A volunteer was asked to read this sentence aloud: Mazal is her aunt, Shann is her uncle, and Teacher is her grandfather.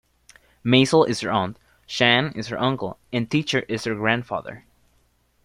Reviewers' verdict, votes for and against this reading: accepted, 2, 0